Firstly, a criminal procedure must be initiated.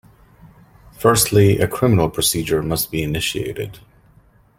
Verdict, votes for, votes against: accepted, 2, 0